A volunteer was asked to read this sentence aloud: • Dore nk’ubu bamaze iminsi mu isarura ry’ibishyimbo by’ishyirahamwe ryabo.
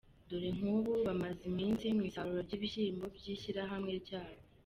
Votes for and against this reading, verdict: 2, 0, accepted